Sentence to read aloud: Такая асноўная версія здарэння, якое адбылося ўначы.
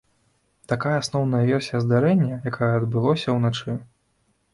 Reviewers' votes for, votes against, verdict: 2, 1, accepted